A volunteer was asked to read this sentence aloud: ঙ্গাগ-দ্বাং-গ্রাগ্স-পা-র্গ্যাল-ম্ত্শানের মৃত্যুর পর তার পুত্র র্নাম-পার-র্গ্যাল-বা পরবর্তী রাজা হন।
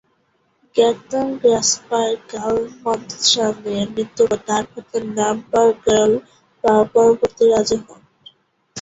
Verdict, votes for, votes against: rejected, 0, 2